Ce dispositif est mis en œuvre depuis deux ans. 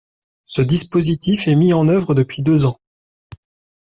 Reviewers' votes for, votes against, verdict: 2, 0, accepted